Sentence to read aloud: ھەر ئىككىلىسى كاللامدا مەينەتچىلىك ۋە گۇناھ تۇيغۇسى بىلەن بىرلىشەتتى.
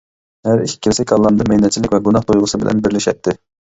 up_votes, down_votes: 2, 1